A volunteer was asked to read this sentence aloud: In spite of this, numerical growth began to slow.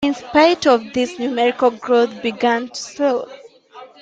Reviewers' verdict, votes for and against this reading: rejected, 1, 2